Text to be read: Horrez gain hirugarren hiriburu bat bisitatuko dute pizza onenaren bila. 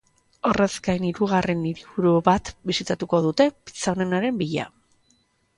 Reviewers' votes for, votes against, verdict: 5, 0, accepted